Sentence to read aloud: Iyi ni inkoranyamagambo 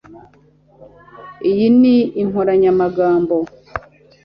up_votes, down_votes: 2, 0